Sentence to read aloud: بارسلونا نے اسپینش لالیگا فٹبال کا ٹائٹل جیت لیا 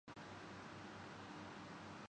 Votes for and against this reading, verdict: 0, 2, rejected